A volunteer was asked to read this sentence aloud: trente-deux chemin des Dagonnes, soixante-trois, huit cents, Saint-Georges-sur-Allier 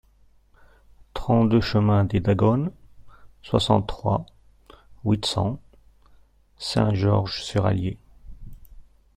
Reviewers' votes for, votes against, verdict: 1, 2, rejected